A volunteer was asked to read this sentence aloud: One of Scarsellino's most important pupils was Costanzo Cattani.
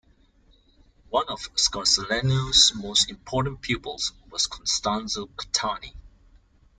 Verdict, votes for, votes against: accepted, 2, 0